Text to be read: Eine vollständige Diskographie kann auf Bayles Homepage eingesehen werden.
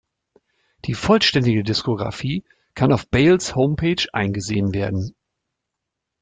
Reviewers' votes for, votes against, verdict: 1, 2, rejected